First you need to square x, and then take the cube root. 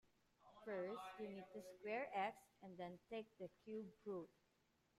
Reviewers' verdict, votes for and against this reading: rejected, 0, 2